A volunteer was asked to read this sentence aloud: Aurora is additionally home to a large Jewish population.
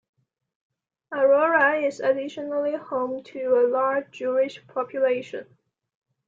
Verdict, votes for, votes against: accepted, 2, 1